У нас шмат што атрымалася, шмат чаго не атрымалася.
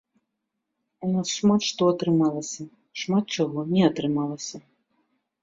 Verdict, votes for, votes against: accepted, 2, 0